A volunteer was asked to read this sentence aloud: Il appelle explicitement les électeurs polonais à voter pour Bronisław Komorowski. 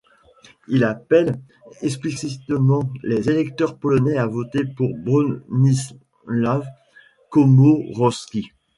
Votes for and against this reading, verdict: 2, 0, accepted